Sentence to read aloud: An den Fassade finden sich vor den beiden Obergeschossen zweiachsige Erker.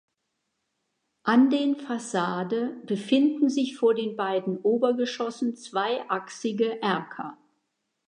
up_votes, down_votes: 1, 2